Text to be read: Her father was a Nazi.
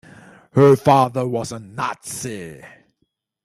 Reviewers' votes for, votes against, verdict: 2, 0, accepted